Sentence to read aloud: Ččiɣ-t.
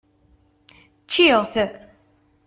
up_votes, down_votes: 2, 0